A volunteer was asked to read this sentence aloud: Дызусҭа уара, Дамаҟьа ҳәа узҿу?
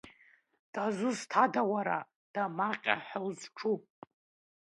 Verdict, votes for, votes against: rejected, 1, 2